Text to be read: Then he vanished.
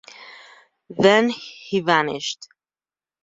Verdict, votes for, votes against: accepted, 2, 0